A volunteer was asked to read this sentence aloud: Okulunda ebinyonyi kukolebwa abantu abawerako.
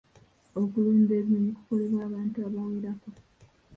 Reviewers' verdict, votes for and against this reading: accepted, 3, 1